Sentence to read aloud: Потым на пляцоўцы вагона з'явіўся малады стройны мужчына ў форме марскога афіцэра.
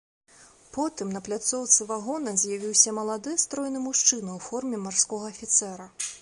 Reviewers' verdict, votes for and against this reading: accepted, 2, 0